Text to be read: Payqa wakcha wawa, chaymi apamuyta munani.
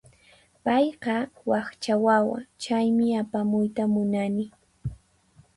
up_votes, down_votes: 4, 0